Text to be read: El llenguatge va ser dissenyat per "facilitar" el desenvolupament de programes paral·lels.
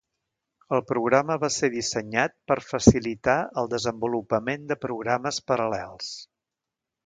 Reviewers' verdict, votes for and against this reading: rejected, 0, 2